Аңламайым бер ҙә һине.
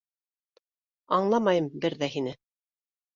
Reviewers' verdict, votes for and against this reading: accepted, 2, 0